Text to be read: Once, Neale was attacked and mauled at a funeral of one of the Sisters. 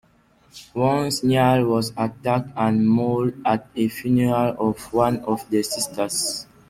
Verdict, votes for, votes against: accepted, 2, 1